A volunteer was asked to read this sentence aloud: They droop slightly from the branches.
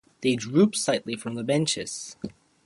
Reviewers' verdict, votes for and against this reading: rejected, 0, 2